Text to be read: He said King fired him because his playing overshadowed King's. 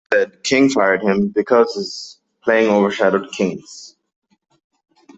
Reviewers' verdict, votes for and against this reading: rejected, 1, 2